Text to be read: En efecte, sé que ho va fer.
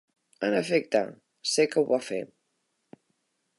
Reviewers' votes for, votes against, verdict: 4, 0, accepted